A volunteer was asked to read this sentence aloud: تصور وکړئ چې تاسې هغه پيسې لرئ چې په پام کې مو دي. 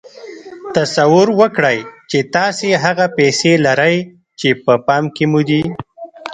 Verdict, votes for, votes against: rejected, 0, 2